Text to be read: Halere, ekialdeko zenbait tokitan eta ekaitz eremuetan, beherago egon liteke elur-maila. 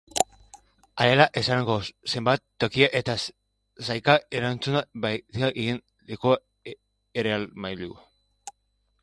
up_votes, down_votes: 1, 3